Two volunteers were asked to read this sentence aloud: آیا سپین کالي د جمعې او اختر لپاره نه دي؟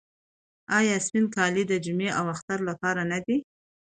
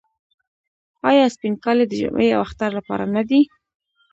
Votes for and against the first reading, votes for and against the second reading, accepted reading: 2, 0, 1, 2, first